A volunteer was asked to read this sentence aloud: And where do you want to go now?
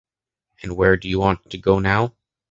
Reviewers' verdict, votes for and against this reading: accepted, 2, 1